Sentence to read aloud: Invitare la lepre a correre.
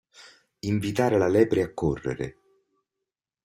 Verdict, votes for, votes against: accepted, 2, 0